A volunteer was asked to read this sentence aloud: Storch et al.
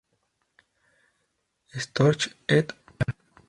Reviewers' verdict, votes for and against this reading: rejected, 0, 2